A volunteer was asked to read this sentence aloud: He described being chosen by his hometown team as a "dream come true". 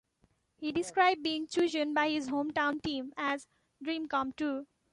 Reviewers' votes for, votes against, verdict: 1, 2, rejected